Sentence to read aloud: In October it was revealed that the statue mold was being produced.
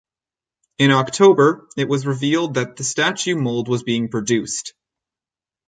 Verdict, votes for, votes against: rejected, 2, 2